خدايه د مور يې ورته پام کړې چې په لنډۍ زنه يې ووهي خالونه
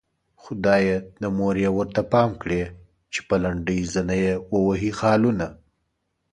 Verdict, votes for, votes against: accepted, 2, 0